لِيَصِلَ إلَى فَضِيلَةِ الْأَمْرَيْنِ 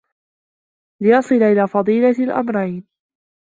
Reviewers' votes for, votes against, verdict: 2, 0, accepted